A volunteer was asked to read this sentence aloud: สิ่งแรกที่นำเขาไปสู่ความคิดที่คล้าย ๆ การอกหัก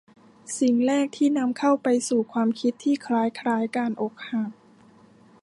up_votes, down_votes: 0, 2